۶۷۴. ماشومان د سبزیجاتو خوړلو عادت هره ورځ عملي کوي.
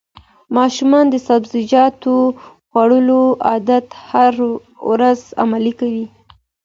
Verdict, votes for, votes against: rejected, 0, 2